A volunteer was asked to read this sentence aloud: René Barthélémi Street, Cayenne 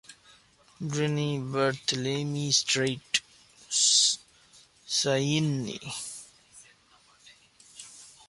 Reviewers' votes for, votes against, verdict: 0, 2, rejected